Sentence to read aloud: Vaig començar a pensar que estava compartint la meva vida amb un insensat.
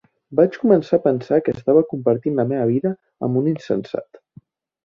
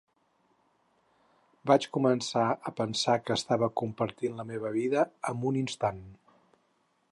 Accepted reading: first